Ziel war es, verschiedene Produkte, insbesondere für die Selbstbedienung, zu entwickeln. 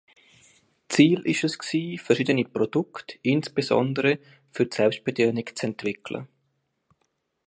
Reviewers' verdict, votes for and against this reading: rejected, 0, 2